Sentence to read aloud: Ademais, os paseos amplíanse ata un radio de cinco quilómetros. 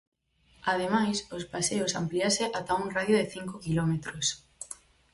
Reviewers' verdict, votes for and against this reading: rejected, 0, 4